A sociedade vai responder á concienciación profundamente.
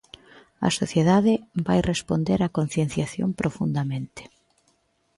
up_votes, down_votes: 2, 0